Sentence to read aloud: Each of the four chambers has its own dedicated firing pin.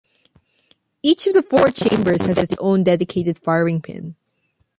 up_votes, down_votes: 1, 2